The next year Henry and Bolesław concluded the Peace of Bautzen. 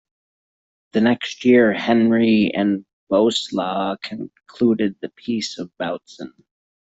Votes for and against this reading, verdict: 0, 2, rejected